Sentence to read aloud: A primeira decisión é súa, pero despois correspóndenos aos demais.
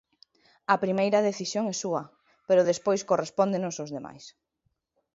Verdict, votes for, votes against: accepted, 2, 0